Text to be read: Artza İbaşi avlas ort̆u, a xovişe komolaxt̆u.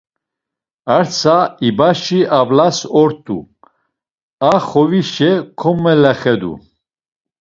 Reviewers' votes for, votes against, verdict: 0, 2, rejected